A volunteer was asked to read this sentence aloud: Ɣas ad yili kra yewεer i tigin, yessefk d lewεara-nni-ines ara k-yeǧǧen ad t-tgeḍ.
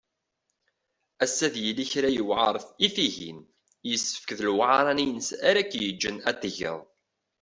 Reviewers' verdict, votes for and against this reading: accepted, 2, 1